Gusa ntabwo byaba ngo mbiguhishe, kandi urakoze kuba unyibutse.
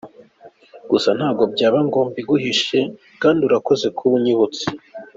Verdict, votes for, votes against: accepted, 2, 0